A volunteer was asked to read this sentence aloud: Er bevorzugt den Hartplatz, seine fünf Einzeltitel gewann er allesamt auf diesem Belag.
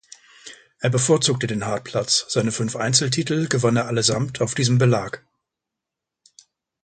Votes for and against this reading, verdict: 1, 2, rejected